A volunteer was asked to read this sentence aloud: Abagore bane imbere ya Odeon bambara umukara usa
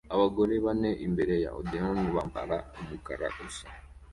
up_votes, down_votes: 2, 0